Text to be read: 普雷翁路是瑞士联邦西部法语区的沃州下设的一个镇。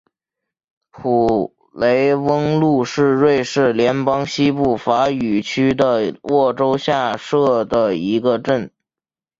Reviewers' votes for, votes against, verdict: 3, 0, accepted